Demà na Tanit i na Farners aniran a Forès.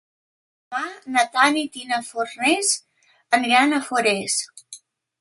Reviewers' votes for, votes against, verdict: 0, 2, rejected